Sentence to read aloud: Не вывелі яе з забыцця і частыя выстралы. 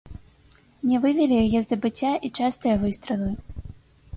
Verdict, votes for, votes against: accepted, 3, 0